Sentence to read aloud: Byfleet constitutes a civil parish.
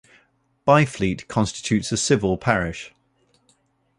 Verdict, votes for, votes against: accepted, 2, 0